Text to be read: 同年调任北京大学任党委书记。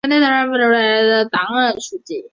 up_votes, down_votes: 0, 3